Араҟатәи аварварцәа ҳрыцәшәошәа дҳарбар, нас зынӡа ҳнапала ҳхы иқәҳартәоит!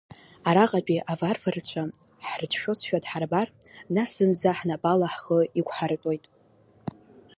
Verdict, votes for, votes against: rejected, 1, 2